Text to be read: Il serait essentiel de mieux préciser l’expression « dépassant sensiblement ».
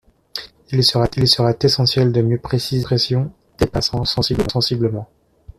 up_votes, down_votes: 1, 2